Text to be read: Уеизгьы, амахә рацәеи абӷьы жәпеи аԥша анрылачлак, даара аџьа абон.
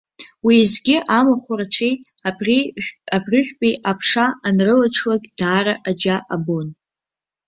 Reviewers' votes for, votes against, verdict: 0, 2, rejected